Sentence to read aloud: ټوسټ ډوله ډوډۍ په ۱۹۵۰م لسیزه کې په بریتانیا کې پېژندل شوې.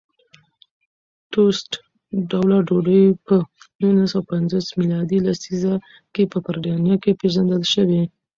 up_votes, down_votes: 0, 2